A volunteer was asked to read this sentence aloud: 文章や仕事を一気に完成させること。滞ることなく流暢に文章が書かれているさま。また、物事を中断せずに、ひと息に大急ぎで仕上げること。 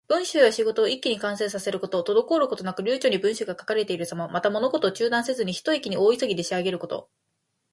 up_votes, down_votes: 1, 2